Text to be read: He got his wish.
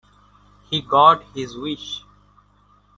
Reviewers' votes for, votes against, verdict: 2, 0, accepted